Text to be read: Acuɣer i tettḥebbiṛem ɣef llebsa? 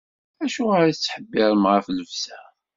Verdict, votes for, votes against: accepted, 2, 0